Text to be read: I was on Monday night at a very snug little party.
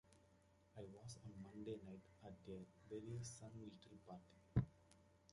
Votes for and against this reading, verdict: 1, 2, rejected